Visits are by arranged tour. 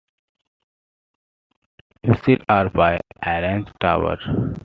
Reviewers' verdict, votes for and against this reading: accepted, 2, 0